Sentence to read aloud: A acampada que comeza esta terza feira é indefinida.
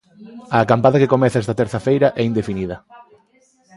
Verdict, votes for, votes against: accepted, 2, 0